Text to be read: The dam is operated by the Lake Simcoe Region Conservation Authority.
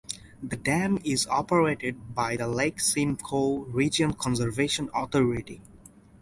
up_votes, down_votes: 2, 2